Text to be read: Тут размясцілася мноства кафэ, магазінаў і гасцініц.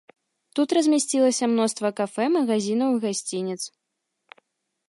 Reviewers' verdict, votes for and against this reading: accepted, 2, 0